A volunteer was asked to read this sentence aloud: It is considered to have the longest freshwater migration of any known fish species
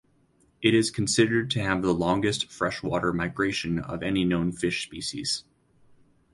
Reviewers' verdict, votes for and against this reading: accepted, 2, 0